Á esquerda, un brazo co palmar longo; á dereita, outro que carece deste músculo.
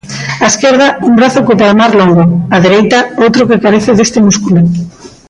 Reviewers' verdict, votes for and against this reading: accepted, 2, 0